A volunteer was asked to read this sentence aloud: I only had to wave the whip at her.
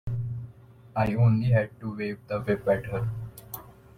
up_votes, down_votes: 1, 2